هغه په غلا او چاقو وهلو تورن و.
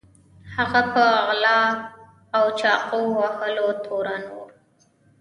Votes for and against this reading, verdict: 1, 2, rejected